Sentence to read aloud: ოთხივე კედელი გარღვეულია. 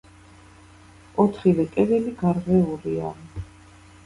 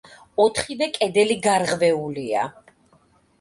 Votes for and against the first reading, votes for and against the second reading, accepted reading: 1, 2, 2, 0, second